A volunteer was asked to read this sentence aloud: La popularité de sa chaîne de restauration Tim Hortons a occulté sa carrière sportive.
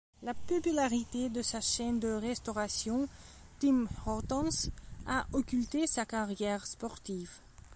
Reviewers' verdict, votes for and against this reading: accepted, 2, 0